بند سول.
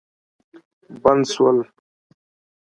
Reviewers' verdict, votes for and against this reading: accepted, 2, 0